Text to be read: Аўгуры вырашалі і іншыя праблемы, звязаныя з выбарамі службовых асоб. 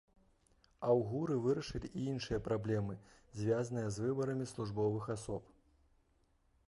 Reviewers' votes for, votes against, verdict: 2, 1, accepted